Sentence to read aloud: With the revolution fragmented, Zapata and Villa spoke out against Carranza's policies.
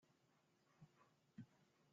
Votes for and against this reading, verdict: 0, 2, rejected